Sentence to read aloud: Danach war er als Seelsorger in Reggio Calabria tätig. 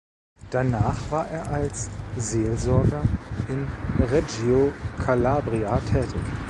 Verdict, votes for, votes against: accepted, 2, 0